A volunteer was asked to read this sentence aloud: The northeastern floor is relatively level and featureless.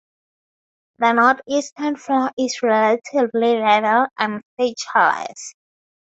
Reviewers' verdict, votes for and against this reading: accepted, 2, 0